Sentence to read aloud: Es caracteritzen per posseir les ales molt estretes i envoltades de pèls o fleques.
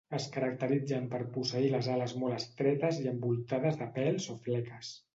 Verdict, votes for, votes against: accepted, 2, 0